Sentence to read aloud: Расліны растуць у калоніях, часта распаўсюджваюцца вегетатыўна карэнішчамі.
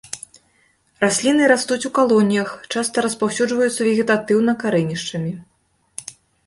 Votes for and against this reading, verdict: 3, 0, accepted